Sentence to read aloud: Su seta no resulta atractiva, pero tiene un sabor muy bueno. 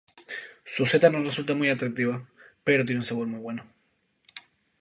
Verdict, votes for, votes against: rejected, 0, 2